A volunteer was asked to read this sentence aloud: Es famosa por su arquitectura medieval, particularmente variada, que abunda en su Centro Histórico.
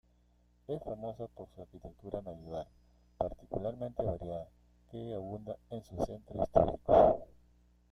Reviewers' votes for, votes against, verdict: 1, 2, rejected